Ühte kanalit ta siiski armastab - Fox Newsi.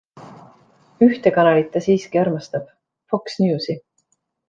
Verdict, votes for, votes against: accepted, 2, 0